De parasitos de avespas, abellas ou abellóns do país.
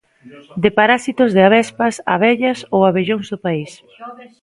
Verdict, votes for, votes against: rejected, 0, 2